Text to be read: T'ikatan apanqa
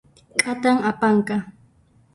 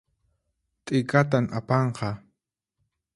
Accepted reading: second